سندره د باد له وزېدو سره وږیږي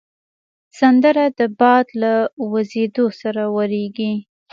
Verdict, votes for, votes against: accepted, 2, 0